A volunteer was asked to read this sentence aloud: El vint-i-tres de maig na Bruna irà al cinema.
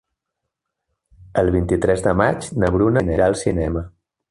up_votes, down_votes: 0, 2